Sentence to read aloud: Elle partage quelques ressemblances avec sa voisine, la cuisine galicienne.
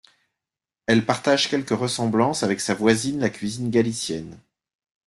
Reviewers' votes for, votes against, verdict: 2, 1, accepted